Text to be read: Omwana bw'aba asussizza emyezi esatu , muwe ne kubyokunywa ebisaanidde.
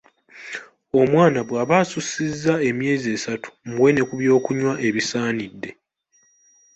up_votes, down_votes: 2, 0